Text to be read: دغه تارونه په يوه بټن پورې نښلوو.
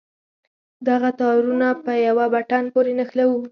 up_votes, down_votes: 4, 2